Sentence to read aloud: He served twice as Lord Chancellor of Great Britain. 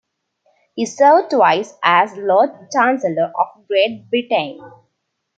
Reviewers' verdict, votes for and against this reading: accepted, 2, 0